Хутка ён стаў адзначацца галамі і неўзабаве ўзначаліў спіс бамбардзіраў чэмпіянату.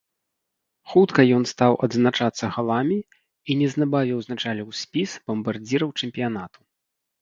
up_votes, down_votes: 0, 2